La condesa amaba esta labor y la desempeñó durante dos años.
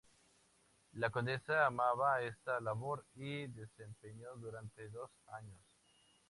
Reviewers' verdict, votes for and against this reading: accepted, 2, 0